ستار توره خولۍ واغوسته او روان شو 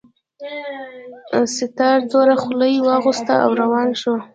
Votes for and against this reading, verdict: 0, 2, rejected